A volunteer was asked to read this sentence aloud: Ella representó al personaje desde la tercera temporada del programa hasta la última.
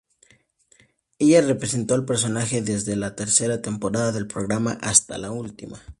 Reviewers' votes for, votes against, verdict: 2, 0, accepted